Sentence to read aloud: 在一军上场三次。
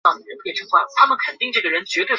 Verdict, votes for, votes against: rejected, 1, 5